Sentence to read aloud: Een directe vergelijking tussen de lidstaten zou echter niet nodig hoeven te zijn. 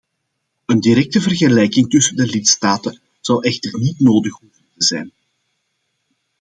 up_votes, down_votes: 2, 0